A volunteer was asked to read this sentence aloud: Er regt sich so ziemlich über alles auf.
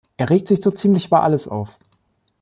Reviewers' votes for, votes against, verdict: 2, 0, accepted